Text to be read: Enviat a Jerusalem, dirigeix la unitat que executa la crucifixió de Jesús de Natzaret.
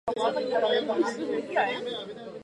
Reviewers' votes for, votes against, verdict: 2, 4, rejected